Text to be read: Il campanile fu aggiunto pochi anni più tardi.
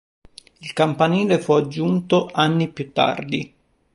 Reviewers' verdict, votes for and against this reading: rejected, 0, 2